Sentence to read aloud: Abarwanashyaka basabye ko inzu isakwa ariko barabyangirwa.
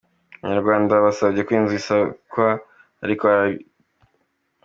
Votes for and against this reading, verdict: 0, 2, rejected